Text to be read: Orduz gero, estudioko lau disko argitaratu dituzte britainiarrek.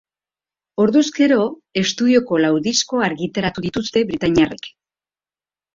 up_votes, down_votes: 2, 0